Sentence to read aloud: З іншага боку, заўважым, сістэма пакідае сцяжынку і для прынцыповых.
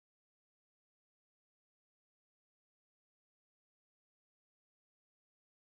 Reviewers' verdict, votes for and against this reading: rejected, 0, 3